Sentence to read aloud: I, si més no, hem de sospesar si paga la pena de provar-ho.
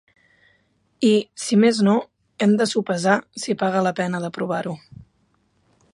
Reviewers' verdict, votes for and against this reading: rejected, 0, 2